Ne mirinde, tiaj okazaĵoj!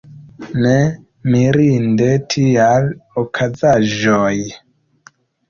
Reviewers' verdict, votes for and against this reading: rejected, 1, 2